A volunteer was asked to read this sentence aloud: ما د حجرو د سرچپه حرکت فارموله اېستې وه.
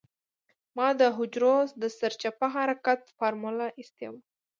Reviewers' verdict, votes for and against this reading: accepted, 2, 0